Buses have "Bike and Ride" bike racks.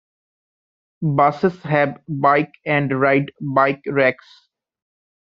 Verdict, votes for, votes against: accepted, 2, 0